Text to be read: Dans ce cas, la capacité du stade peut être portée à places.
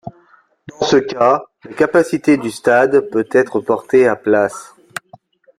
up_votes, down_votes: 2, 0